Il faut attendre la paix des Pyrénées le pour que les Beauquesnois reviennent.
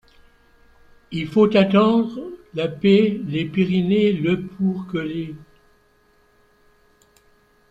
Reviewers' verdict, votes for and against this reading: rejected, 1, 2